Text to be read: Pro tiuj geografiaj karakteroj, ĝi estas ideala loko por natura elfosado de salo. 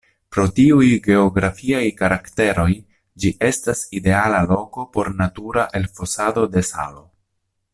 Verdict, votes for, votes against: accepted, 2, 0